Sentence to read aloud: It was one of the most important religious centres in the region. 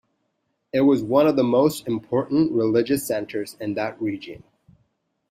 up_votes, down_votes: 1, 2